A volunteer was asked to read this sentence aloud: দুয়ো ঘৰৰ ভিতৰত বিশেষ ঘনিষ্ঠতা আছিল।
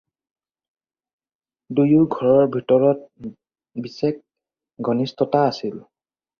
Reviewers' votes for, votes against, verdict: 2, 4, rejected